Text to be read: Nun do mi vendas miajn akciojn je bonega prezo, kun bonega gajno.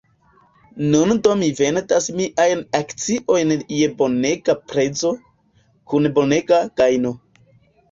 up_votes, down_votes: 1, 2